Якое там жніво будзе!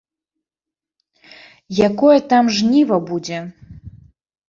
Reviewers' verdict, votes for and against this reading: rejected, 1, 2